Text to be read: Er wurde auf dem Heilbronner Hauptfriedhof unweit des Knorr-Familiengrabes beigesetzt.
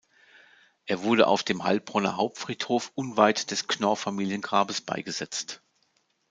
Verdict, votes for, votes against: accepted, 4, 0